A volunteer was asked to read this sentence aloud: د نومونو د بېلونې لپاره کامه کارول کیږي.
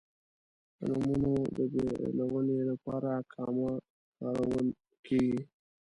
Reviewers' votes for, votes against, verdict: 1, 2, rejected